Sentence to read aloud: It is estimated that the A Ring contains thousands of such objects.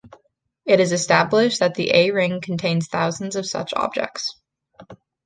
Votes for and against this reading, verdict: 1, 2, rejected